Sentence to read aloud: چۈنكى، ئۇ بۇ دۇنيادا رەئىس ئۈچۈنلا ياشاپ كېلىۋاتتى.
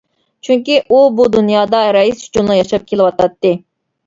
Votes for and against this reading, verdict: 1, 2, rejected